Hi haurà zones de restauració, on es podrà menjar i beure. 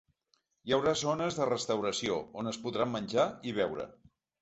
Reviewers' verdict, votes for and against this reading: accepted, 2, 0